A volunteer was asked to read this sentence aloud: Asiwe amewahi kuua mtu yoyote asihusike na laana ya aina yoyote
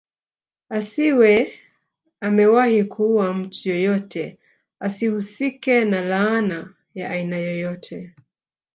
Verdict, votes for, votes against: accepted, 3, 0